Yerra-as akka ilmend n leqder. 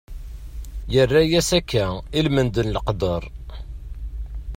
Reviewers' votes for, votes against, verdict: 2, 0, accepted